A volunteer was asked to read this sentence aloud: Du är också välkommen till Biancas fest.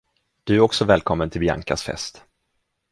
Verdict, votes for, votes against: accepted, 2, 0